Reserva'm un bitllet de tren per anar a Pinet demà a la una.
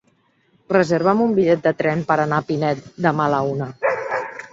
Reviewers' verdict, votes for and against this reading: accepted, 3, 0